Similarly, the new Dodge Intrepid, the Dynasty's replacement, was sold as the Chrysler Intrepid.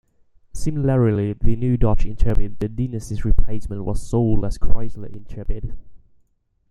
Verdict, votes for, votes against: rejected, 0, 2